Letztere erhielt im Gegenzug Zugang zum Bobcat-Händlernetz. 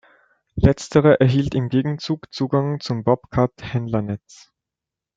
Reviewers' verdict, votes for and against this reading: accepted, 2, 1